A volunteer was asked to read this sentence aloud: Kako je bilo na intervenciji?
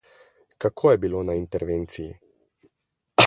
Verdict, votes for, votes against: rejected, 2, 2